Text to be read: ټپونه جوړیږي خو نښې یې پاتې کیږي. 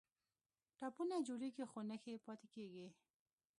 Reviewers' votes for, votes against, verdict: 1, 2, rejected